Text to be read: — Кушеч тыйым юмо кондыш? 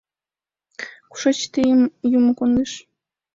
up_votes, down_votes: 2, 0